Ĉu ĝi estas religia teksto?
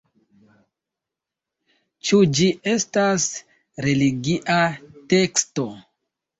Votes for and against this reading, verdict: 2, 0, accepted